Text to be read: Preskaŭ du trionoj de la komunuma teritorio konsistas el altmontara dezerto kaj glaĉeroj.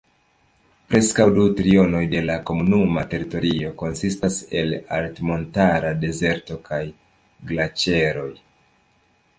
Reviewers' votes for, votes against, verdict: 2, 0, accepted